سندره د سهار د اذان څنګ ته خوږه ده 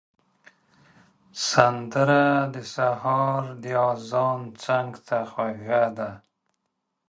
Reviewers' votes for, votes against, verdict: 1, 2, rejected